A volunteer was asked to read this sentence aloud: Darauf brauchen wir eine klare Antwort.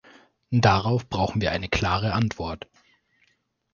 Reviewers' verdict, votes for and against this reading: accepted, 2, 0